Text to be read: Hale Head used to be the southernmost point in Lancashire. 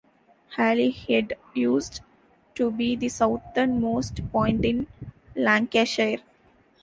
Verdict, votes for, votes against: rejected, 0, 2